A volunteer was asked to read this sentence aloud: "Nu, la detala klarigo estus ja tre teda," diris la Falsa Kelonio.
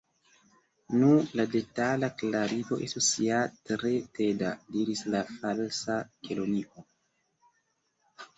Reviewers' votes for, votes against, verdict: 2, 1, accepted